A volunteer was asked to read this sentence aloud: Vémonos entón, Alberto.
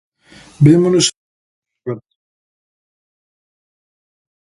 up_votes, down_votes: 0, 2